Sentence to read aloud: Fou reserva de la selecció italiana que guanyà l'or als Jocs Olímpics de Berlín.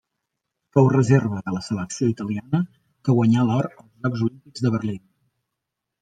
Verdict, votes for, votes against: rejected, 0, 2